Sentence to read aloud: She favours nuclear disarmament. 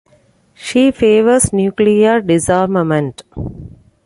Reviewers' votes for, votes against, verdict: 2, 0, accepted